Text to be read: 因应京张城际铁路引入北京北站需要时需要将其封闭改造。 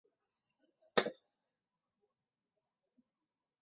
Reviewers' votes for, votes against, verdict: 1, 4, rejected